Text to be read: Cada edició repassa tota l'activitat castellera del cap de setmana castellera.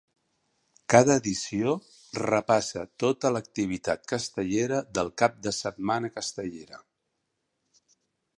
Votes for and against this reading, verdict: 3, 0, accepted